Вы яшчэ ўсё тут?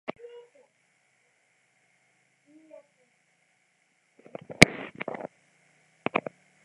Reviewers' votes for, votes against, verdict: 0, 2, rejected